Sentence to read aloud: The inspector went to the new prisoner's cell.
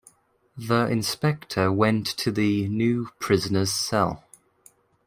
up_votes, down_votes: 2, 0